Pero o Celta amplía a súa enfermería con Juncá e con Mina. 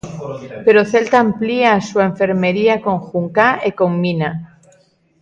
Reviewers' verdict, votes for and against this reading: accepted, 3, 0